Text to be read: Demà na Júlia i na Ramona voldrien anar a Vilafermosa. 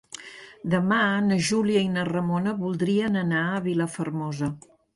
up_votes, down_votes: 2, 0